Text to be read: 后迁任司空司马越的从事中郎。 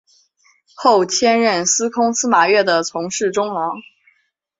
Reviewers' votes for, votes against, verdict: 5, 1, accepted